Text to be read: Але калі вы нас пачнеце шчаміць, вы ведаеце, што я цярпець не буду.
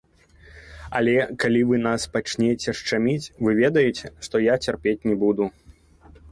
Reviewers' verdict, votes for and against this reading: rejected, 1, 2